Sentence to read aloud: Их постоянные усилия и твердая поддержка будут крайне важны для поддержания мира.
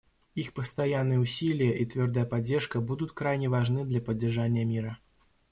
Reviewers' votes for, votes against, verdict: 2, 0, accepted